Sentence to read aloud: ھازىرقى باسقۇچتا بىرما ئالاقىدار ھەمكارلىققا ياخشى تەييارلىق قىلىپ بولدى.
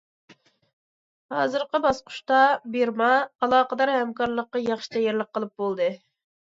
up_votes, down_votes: 2, 0